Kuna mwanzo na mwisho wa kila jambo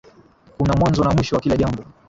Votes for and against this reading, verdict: 1, 2, rejected